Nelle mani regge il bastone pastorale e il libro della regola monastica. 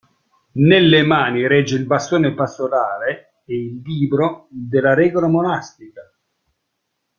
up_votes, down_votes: 2, 0